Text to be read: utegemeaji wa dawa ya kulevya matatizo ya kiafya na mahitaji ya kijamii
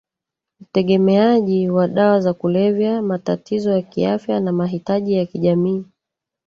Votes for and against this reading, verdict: 1, 2, rejected